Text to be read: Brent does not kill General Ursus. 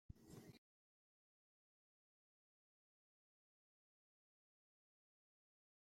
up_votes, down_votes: 0, 2